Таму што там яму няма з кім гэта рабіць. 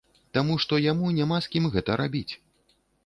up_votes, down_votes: 1, 2